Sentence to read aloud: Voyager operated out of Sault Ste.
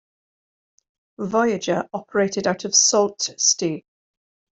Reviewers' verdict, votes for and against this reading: accepted, 2, 0